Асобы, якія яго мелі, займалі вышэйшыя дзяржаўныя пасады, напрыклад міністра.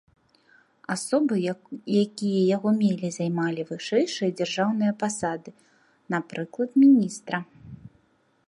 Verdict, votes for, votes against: rejected, 1, 2